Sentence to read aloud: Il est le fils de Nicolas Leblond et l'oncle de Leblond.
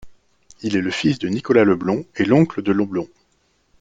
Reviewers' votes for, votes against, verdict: 0, 2, rejected